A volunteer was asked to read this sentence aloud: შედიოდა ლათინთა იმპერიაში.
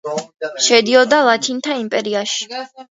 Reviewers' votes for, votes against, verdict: 3, 2, accepted